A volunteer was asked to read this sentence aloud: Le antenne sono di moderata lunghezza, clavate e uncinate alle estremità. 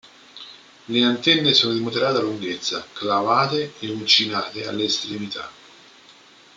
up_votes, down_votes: 2, 0